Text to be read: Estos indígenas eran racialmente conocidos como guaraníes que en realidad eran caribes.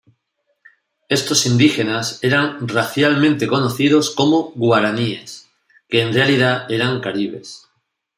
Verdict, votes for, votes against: accepted, 2, 0